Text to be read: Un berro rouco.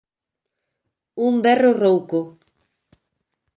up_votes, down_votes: 3, 0